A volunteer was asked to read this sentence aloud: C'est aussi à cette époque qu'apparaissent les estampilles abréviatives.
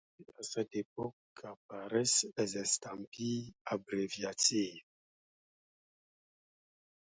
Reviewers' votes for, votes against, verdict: 1, 2, rejected